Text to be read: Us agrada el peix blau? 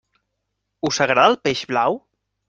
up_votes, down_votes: 2, 0